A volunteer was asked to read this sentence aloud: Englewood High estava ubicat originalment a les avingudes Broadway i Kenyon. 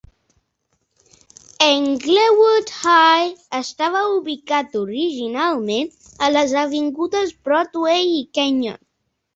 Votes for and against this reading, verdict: 2, 1, accepted